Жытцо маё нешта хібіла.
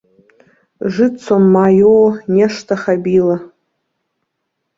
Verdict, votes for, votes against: rejected, 0, 3